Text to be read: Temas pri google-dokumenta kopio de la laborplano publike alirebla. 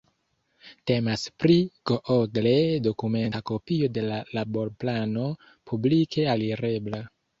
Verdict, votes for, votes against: rejected, 1, 2